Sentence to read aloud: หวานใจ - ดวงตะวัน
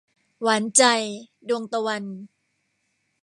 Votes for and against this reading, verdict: 2, 0, accepted